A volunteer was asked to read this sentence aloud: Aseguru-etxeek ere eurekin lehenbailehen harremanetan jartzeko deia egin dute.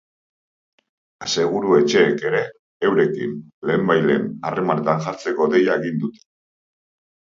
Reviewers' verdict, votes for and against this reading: rejected, 1, 2